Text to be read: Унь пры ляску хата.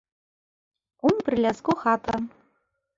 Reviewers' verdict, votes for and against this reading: rejected, 1, 2